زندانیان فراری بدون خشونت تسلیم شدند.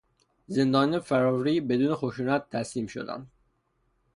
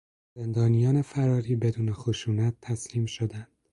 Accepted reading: second